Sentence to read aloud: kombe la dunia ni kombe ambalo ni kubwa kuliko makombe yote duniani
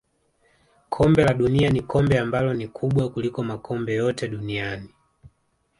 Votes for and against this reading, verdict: 1, 2, rejected